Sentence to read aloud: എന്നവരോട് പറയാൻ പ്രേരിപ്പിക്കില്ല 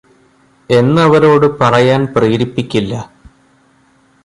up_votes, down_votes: 2, 0